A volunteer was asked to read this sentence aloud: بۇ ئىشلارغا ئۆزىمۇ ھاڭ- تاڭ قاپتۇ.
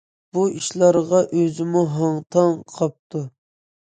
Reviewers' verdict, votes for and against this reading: accepted, 2, 0